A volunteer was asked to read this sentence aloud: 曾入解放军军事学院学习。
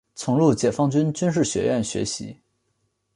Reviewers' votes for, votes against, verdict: 2, 0, accepted